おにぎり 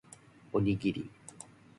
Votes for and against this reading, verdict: 2, 0, accepted